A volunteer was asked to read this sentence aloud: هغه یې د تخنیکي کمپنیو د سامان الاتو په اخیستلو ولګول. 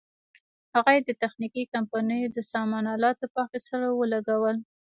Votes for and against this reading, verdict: 1, 2, rejected